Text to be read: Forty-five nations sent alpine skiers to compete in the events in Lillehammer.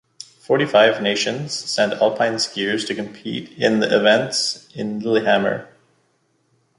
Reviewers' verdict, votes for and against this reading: accepted, 2, 0